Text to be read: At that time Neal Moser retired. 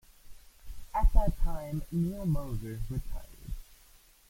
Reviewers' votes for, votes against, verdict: 2, 0, accepted